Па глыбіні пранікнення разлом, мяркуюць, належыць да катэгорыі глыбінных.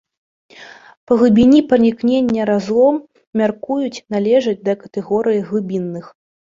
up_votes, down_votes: 0, 2